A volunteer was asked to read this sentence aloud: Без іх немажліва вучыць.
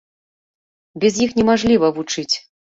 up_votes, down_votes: 2, 0